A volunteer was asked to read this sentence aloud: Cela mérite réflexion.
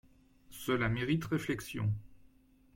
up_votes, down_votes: 2, 0